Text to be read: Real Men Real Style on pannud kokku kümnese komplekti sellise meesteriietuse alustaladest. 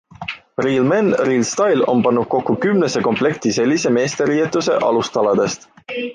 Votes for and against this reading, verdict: 2, 0, accepted